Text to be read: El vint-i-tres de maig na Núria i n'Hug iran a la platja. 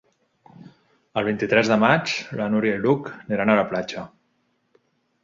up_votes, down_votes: 1, 2